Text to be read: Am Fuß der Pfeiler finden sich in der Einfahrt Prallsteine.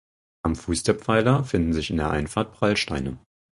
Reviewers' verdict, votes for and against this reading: accepted, 4, 0